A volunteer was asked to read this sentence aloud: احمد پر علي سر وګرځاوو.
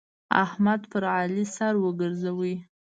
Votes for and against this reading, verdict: 1, 2, rejected